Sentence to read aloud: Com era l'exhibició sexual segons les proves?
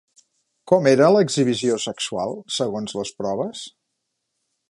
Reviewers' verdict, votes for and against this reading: accepted, 3, 0